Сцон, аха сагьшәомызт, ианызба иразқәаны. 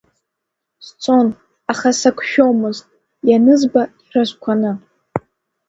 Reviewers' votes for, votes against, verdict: 1, 2, rejected